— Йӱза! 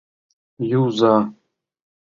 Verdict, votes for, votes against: rejected, 0, 2